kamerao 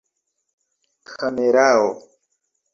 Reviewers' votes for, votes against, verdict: 0, 2, rejected